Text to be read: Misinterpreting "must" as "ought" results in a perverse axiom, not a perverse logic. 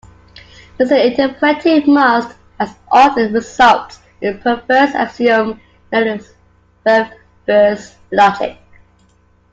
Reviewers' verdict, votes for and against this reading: rejected, 0, 2